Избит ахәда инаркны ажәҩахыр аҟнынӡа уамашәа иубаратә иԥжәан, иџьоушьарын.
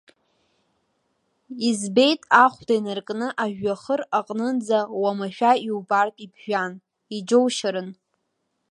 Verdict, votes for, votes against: rejected, 1, 2